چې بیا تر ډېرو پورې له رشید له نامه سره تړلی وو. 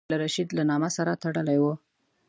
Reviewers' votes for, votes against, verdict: 0, 2, rejected